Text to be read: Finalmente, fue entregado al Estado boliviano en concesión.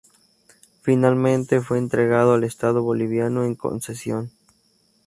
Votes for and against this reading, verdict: 4, 0, accepted